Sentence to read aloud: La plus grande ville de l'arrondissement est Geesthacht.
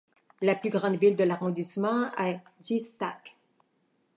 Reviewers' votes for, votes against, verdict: 0, 2, rejected